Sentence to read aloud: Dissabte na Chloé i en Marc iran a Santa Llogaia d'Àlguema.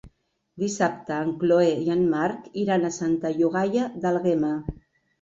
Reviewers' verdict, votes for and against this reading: rejected, 1, 2